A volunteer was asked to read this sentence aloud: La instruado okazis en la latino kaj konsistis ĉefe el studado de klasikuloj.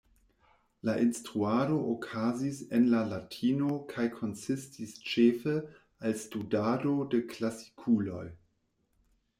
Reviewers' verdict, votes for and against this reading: accepted, 2, 0